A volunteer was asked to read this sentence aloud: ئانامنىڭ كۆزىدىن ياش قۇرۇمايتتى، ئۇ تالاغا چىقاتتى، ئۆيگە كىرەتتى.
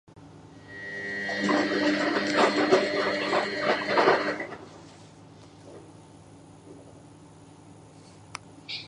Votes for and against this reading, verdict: 0, 2, rejected